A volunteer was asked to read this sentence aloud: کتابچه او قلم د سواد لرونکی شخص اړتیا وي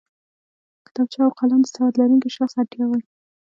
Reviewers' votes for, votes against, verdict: 1, 2, rejected